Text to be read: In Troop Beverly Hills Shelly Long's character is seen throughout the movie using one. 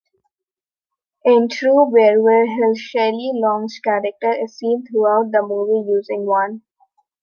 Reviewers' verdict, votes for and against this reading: rejected, 1, 2